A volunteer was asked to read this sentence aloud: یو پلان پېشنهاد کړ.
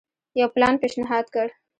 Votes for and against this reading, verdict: 1, 2, rejected